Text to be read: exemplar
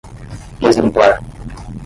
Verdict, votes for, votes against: rejected, 5, 5